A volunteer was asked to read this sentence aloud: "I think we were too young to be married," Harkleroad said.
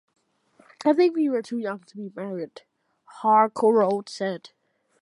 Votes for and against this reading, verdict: 2, 0, accepted